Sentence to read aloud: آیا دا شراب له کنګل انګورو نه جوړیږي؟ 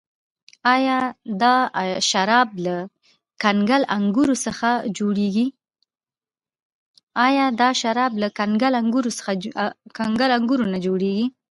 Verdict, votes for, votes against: rejected, 1, 2